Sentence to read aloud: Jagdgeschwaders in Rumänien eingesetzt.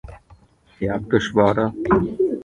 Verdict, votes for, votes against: rejected, 0, 2